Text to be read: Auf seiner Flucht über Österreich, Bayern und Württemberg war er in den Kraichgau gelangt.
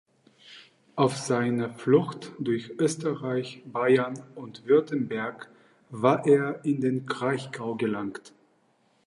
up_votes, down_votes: 0, 2